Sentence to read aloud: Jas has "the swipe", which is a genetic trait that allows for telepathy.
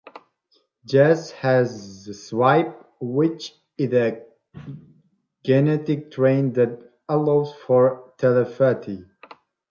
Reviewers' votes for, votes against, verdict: 0, 2, rejected